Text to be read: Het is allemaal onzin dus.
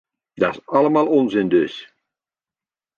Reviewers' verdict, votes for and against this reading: rejected, 0, 2